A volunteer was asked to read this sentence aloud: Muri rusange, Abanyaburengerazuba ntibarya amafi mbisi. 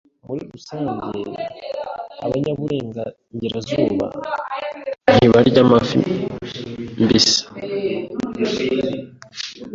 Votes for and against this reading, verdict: 1, 2, rejected